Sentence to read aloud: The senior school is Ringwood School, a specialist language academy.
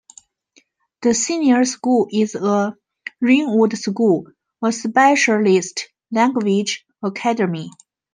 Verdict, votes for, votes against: rejected, 0, 2